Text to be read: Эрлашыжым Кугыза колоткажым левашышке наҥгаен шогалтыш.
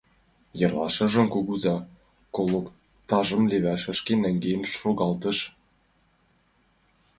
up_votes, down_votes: 0, 2